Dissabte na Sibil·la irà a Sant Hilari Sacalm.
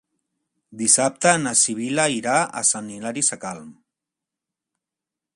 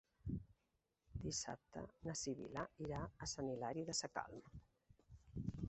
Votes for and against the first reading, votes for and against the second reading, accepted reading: 3, 0, 0, 4, first